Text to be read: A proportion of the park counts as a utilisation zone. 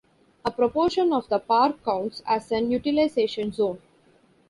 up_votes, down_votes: 2, 0